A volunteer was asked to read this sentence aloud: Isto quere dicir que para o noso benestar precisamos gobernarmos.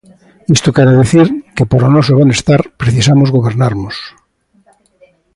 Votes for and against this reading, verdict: 2, 0, accepted